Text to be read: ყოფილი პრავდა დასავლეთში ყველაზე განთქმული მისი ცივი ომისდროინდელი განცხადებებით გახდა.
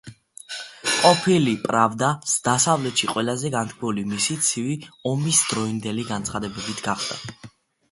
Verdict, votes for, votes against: accepted, 2, 0